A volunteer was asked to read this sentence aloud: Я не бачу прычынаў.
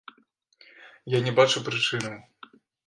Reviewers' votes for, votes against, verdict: 2, 0, accepted